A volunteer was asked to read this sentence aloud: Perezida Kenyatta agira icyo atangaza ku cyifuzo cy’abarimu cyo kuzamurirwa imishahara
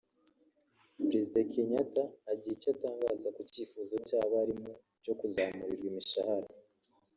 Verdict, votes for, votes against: rejected, 1, 2